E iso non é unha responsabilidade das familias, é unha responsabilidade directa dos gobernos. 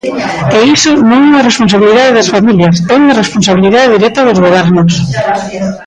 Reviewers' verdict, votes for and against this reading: rejected, 1, 2